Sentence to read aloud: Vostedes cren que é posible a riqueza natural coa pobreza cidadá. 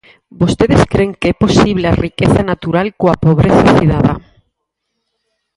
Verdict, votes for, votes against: accepted, 4, 0